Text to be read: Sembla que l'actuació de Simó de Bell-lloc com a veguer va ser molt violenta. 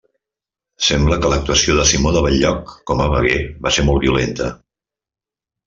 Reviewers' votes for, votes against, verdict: 3, 0, accepted